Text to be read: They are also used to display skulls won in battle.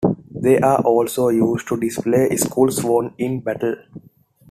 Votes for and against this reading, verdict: 2, 1, accepted